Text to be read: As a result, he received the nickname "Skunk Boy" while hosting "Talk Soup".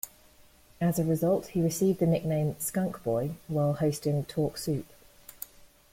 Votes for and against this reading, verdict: 2, 0, accepted